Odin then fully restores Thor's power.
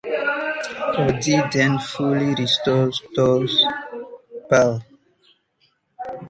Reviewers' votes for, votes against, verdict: 0, 2, rejected